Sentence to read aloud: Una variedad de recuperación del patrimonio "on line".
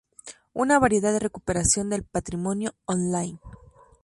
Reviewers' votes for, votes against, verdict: 2, 0, accepted